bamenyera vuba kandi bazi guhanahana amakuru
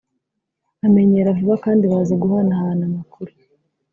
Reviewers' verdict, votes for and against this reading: accepted, 2, 0